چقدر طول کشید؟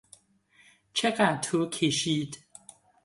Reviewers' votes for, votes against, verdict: 2, 0, accepted